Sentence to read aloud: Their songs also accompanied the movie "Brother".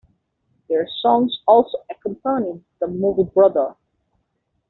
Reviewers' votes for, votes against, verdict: 1, 2, rejected